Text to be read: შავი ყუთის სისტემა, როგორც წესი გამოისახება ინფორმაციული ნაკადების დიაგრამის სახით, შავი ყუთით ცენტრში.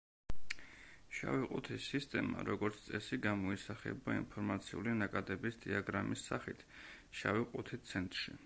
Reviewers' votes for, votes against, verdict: 2, 0, accepted